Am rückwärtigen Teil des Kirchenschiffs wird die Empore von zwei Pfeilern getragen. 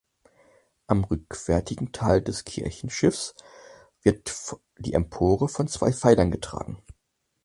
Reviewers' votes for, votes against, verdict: 0, 4, rejected